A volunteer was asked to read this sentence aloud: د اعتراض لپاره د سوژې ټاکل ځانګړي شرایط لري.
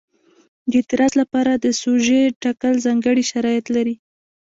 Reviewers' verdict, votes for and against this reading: accepted, 2, 0